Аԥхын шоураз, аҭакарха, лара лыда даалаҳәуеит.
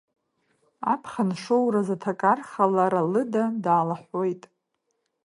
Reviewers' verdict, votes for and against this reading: accepted, 2, 0